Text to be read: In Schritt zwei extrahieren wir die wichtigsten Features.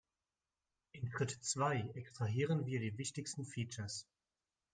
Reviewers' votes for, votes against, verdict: 2, 1, accepted